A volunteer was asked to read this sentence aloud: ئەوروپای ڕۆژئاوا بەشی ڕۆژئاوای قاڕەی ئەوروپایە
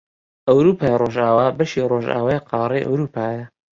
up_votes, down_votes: 2, 0